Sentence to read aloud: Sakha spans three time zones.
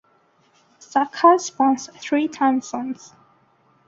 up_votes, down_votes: 1, 2